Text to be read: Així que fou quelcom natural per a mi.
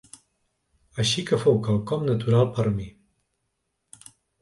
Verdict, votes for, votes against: rejected, 1, 2